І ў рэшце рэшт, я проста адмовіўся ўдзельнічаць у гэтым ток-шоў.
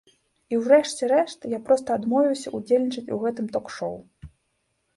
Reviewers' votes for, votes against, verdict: 2, 0, accepted